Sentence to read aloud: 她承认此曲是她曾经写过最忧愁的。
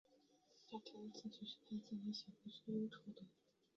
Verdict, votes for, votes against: rejected, 4, 5